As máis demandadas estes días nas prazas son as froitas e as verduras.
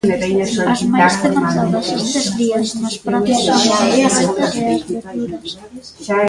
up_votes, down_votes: 0, 2